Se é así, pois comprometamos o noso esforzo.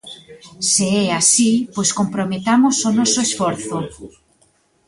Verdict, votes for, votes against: accepted, 2, 1